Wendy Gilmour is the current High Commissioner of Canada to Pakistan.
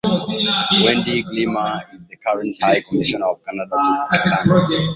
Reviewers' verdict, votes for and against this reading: accepted, 2, 1